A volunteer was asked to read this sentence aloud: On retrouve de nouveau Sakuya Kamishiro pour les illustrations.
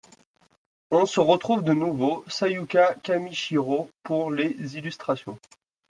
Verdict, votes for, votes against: rejected, 1, 2